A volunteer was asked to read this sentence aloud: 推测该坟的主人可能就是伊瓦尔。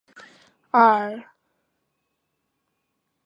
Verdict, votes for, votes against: rejected, 1, 2